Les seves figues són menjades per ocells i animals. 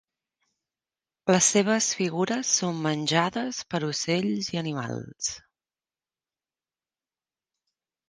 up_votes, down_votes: 0, 3